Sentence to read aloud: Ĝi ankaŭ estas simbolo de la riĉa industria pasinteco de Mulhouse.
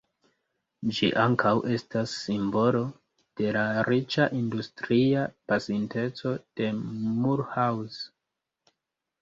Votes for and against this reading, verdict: 0, 2, rejected